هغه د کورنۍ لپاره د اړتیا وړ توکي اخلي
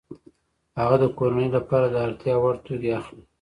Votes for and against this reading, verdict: 2, 0, accepted